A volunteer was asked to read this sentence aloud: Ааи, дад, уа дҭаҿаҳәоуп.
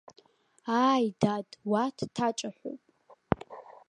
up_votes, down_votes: 2, 1